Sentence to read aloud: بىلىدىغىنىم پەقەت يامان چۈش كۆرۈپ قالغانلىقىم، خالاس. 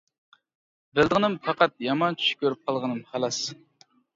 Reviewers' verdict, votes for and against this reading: rejected, 0, 2